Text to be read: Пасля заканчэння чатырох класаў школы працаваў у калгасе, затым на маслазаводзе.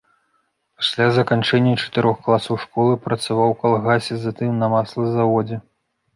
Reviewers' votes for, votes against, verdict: 2, 0, accepted